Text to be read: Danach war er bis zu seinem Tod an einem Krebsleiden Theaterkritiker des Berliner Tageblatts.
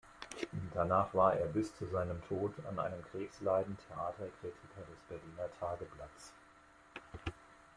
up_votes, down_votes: 2, 1